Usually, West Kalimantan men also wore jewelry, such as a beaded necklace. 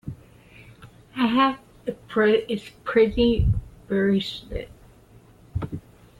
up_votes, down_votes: 0, 2